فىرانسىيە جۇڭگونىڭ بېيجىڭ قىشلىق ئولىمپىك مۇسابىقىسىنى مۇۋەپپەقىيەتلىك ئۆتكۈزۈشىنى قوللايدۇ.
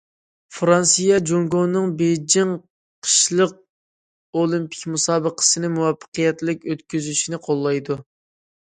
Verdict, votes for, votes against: accepted, 2, 0